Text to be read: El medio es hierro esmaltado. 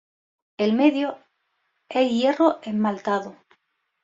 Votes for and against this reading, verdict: 2, 0, accepted